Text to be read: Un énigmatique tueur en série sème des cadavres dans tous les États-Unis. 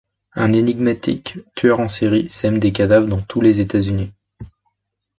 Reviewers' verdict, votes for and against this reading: accepted, 2, 0